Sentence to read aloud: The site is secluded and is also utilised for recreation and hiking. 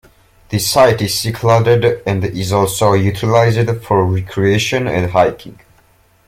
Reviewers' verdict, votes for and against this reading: rejected, 1, 2